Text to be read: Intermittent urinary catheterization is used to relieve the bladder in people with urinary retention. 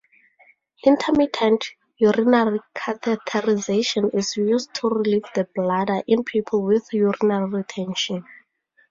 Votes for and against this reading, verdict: 4, 0, accepted